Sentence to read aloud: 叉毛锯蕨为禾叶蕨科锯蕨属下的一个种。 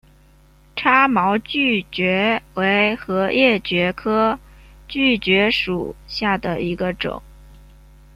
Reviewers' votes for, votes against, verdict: 0, 2, rejected